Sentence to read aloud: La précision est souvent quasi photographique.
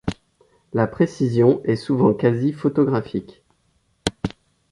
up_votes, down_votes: 2, 0